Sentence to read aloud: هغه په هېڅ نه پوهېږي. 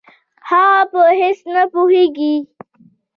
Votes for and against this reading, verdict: 2, 0, accepted